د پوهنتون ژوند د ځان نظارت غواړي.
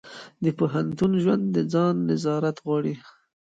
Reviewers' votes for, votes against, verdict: 1, 2, rejected